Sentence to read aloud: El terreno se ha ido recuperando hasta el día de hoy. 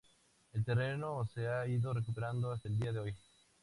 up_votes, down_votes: 2, 0